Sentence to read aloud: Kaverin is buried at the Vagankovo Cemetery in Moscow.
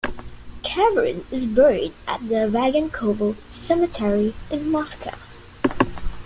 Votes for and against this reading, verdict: 2, 0, accepted